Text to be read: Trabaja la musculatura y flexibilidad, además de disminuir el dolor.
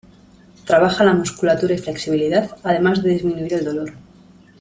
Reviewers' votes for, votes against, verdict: 2, 0, accepted